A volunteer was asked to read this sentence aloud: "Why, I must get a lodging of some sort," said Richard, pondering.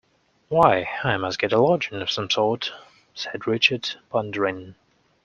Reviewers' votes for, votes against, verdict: 2, 0, accepted